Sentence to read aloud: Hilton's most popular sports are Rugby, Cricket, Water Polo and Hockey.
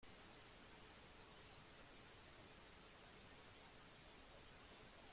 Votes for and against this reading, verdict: 0, 2, rejected